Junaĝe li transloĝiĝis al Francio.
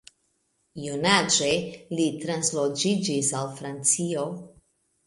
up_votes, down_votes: 2, 0